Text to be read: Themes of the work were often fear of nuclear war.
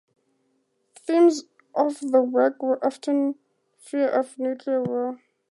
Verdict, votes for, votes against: accepted, 2, 0